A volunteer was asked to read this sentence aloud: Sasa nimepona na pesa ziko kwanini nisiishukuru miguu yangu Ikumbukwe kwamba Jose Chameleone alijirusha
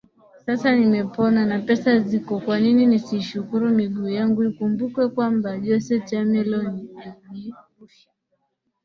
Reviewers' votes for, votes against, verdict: 2, 2, rejected